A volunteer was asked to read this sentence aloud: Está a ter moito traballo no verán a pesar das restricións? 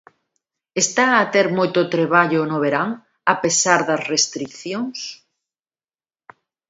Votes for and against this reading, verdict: 1, 2, rejected